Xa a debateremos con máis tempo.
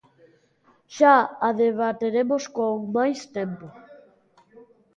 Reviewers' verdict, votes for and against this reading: rejected, 1, 2